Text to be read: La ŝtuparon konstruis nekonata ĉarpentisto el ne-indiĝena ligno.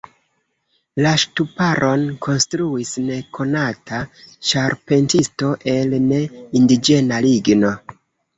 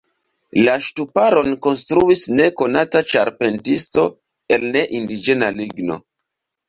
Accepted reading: first